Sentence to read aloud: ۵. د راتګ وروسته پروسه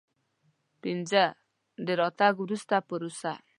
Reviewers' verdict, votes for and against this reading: rejected, 0, 2